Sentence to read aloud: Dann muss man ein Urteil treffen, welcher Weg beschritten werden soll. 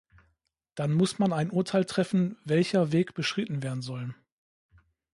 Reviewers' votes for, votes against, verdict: 2, 0, accepted